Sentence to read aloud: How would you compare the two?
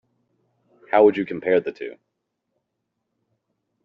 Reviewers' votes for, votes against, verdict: 2, 0, accepted